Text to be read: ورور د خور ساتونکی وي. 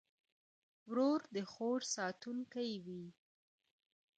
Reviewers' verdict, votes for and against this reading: rejected, 1, 2